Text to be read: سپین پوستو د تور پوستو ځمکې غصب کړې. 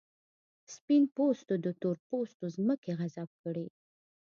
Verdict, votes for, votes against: accepted, 3, 1